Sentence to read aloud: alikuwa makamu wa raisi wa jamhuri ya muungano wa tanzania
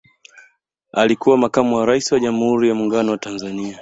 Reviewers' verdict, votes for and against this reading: accepted, 2, 0